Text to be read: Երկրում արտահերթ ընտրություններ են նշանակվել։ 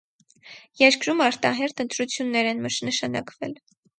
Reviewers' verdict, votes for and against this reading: rejected, 0, 4